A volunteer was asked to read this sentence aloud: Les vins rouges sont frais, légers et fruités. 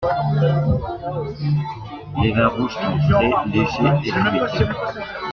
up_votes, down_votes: 2, 0